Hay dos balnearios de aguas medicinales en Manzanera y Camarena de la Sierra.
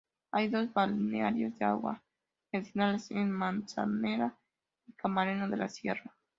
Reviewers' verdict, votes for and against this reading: rejected, 0, 2